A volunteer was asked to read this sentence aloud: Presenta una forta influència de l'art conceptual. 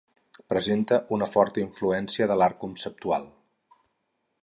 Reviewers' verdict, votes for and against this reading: accepted, 4, 0